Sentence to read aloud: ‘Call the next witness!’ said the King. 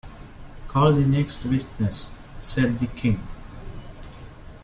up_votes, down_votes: 1, 2